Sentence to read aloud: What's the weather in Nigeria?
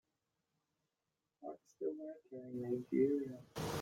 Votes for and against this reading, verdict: 2, 4, rejected